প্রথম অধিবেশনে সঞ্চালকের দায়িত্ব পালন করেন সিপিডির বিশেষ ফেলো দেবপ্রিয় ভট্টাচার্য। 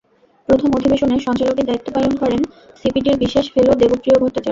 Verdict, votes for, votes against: rejected, 0, 2